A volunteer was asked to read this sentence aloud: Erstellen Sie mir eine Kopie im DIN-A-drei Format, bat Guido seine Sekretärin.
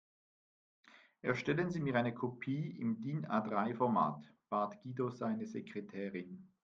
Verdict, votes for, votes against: accepted, 2, 0